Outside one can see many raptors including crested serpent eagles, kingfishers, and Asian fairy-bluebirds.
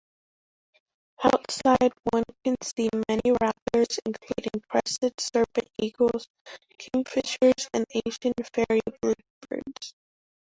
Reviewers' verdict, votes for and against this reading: rejected, 1, 2